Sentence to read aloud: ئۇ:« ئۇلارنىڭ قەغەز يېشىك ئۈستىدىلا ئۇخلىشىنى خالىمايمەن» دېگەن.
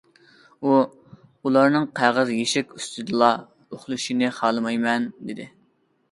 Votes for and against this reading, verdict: 1, 2, rejected